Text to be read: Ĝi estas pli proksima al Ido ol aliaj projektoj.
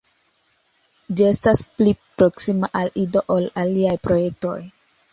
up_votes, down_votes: 2, 0